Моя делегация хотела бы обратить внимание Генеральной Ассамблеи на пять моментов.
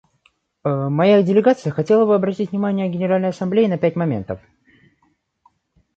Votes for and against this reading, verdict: 0, 2, rejected